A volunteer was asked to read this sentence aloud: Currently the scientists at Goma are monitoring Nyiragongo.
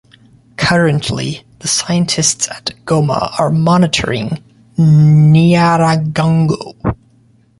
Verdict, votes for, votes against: rejected, 0, 2